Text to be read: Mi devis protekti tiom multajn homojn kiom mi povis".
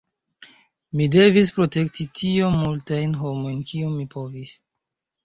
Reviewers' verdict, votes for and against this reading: rejected, 1, 2